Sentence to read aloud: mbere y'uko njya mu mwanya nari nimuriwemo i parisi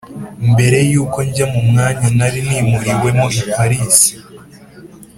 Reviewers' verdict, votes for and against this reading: accepted, 3, 0